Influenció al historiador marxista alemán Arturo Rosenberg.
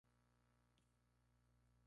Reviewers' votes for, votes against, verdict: 0, 2, rejected